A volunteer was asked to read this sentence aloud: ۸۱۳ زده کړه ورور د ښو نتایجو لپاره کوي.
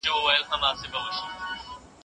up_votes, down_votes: 0, 2